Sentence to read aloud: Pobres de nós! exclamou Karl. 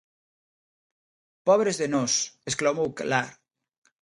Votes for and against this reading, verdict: 0, 2, rejected